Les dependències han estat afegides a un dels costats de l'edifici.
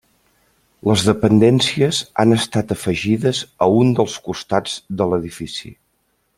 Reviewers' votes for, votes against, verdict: 3, 0, accepted